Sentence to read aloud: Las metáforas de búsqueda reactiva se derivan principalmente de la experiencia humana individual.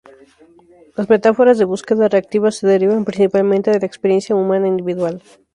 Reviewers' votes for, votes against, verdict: 2, 0, accepted